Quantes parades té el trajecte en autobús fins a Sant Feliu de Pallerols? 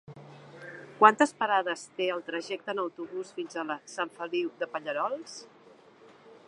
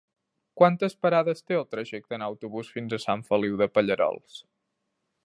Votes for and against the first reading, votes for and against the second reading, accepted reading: 0, 2, 2, 0, second